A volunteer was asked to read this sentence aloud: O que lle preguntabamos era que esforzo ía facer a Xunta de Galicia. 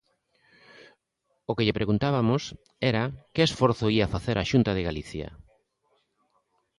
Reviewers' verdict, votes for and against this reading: rejected, 0, 2